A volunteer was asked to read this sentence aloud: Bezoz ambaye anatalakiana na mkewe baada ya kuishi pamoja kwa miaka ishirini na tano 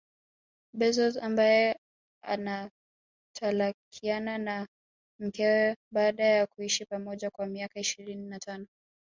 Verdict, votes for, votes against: rejected, 2, 3